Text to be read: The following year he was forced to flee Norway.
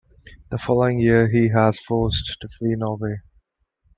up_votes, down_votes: 0, 2